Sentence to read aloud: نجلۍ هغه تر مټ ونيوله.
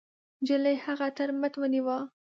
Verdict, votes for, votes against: rejected, 0, 2